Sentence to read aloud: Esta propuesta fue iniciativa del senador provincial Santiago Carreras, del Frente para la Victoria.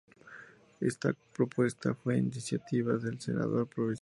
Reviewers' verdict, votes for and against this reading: accepted, 2, 0